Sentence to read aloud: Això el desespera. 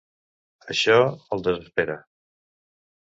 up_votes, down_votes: 2, 1